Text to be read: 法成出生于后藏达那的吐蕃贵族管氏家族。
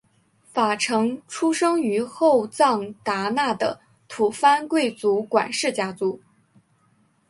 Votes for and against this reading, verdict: 5, 1, accepted